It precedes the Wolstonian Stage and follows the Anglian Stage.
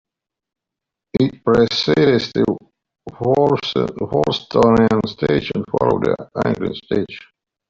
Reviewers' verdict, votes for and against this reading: rejected, 1, 2